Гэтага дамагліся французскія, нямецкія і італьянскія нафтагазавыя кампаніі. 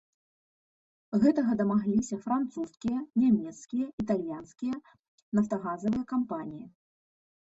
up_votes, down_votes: 0, 2